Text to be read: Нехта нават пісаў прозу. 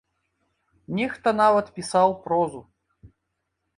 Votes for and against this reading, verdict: 2, 0, accepted